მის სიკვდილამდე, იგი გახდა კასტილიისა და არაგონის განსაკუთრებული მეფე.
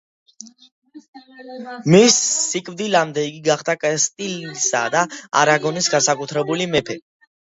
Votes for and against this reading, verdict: 1, 2, rejected